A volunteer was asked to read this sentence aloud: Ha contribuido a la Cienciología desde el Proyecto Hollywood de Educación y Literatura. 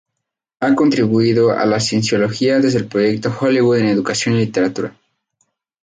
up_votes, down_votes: 0, 2